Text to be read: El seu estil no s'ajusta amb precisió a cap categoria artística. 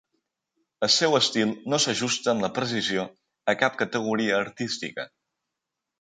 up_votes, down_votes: 0, 2